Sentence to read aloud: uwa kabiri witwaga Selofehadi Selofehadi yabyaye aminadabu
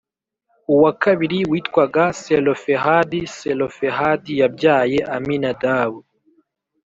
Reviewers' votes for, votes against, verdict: 2, 0, accepted